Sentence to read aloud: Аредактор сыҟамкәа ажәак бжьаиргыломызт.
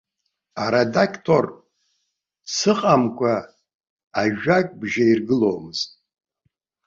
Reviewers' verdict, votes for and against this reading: rejected, 1, 2